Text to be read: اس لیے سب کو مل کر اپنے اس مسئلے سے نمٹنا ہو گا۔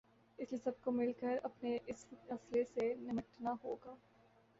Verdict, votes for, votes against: rejected, 0, 2